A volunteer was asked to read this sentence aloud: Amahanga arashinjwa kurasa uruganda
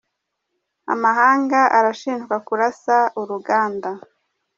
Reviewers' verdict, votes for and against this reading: accepted, 2, 0